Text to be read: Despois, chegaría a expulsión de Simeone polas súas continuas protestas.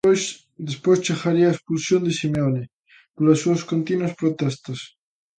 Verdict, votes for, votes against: rejected, 0, 2